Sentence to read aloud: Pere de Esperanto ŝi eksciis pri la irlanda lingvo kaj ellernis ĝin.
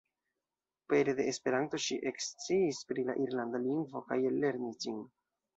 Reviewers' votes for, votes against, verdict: 1, 2, rejected